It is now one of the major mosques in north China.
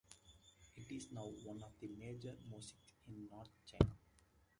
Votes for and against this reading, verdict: 1, 2, rejected